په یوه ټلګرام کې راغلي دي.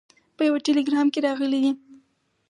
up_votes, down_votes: 2, 2